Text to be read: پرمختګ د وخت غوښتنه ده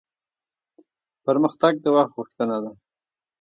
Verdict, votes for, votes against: rejected, 2, 3